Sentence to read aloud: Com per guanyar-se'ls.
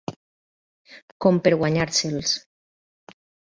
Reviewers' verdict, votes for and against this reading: accepted, 3, 0